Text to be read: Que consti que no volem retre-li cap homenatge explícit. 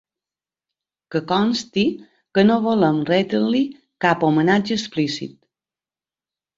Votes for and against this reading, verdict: 2, 0, accepted